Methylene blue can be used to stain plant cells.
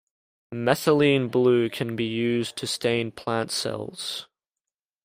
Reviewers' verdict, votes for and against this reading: accepted, 2, 0